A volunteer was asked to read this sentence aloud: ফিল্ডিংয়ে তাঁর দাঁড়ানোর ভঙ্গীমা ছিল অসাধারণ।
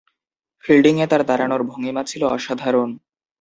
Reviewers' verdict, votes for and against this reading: accepted, 3, 0